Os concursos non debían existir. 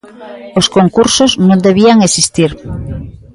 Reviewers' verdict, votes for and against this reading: rejected, 1, 2